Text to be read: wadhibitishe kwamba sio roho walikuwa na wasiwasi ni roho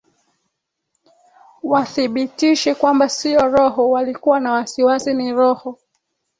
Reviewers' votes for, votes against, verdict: 2, 0, accepted